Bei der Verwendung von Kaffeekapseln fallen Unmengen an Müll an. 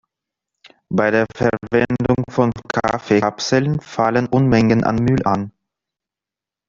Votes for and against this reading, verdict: 1, 2, rejected